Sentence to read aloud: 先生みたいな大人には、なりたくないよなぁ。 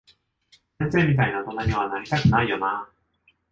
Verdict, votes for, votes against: accepted, 2, 1